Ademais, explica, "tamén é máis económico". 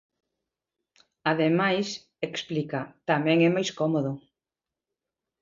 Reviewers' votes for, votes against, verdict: 0, 2, rejected